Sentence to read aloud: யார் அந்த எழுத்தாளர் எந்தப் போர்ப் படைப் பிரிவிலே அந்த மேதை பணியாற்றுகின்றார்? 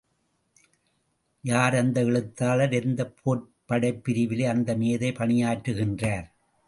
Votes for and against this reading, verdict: 2, 0, accepted